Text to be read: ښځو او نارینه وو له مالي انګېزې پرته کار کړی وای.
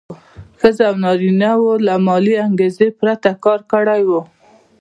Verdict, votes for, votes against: accepted, 2, 1